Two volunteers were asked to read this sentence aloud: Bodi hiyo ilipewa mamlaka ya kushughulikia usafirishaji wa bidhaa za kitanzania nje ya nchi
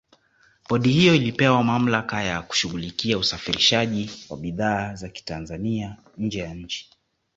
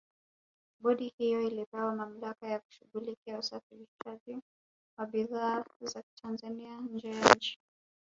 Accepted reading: first